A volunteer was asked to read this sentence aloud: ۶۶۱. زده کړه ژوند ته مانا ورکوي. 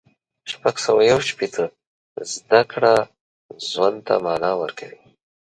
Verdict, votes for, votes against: rejected, 0, 2